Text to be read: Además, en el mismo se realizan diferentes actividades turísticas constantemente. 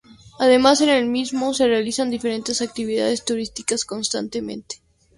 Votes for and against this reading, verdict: 2, 0, accepted